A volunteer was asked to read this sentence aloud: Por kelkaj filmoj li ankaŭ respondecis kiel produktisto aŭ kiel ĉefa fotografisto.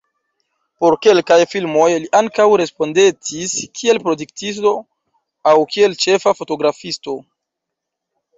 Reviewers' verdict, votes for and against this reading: rejected, 0, 2